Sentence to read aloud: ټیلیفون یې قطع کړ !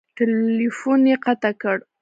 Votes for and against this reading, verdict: 0, 2, rejected